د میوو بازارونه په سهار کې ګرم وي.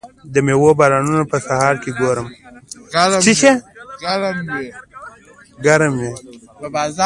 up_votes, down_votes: 0, 2